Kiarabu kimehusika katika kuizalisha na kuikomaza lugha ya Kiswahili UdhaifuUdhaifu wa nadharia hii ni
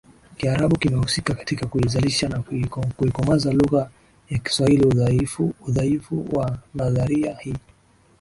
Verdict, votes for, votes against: rejected, 2, 2